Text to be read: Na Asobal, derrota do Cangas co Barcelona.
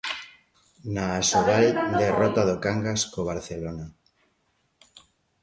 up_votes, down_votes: 0, 2